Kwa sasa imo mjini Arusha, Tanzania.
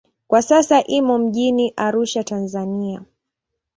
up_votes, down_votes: 2, 0